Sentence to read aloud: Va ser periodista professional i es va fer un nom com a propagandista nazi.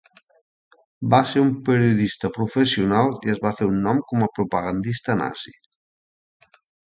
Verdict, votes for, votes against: rejected, 0, 2